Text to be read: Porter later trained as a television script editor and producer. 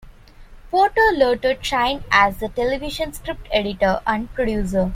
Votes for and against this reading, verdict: 2, 1, accepted